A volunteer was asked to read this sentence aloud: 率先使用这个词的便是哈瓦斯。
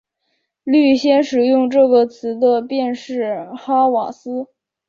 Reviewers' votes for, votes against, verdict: 1, 2, rejected